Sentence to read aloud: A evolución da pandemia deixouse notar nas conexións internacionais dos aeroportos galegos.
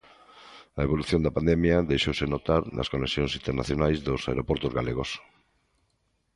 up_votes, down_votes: 2, 0